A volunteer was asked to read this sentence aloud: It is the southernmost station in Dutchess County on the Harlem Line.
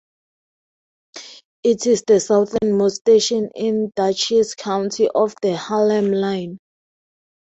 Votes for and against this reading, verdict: 2, 4, rejected